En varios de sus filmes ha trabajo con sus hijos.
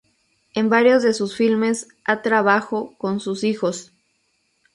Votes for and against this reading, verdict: 0, 2, rejected